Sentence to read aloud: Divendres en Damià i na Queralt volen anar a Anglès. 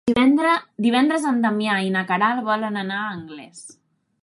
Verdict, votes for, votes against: rejected, 1, 2